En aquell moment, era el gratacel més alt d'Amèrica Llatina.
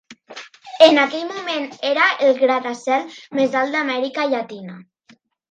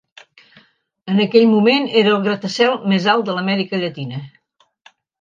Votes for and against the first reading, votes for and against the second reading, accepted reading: 3, 0, 0, 2, first